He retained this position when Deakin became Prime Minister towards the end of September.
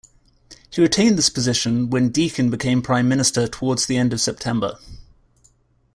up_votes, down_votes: 2, 0